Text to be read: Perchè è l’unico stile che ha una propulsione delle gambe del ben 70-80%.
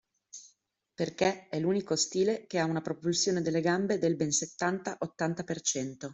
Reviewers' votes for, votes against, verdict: 0, 2, rejected